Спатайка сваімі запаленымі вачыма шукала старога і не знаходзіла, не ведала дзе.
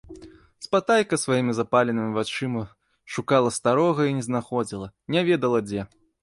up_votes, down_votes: 1, 2